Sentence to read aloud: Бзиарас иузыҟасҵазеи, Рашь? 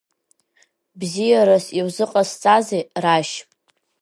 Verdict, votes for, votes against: accepted, 3, 0